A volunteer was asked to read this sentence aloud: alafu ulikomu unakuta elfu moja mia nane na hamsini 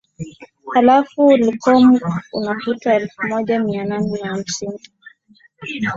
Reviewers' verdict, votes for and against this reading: accepted, 3, 0